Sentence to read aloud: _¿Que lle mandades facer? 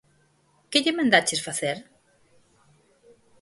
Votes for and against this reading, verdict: 0, 4, rejected